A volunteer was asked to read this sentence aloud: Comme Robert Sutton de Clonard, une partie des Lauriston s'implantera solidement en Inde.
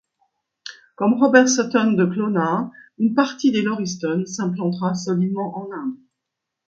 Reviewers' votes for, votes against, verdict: 2, 0, accepted